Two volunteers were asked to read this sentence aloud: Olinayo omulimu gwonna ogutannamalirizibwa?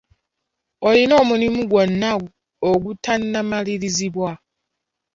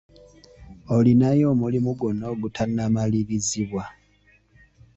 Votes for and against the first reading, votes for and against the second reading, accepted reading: 0, 2, 2, 0, second